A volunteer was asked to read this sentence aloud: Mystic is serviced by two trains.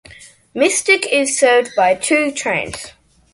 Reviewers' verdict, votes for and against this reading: rejected, 0, 2